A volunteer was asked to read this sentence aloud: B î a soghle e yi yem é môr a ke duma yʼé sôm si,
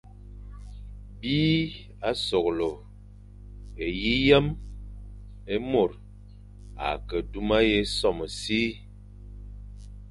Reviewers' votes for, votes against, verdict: 3, 0, accepted